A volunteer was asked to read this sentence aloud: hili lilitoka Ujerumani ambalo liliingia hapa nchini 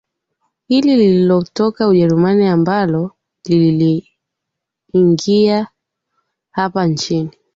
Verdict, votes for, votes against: rejected, 2, 4